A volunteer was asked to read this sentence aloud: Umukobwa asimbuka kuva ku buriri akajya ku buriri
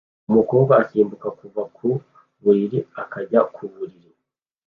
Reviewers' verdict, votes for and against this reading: accepted, 2, 0